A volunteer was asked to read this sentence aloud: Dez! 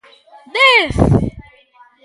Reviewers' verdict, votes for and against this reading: accepted, 2, 1